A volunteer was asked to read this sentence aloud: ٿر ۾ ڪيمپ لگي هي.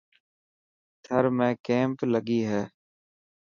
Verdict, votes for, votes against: accepted, 3, 0